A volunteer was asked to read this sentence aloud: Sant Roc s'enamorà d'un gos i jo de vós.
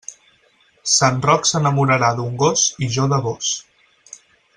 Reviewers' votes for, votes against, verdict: 0, 4, rejected